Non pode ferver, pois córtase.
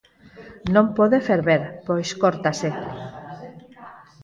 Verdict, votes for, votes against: rejected, 0, 4